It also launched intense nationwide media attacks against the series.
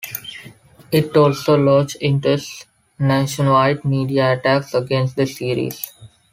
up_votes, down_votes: 2, 0